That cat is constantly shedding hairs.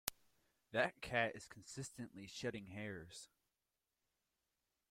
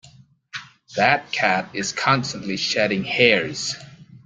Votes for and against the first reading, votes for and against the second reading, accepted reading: 0, 2, 2, 0, second